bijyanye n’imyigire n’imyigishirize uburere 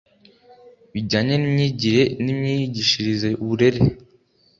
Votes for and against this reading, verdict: 2, 0, accepted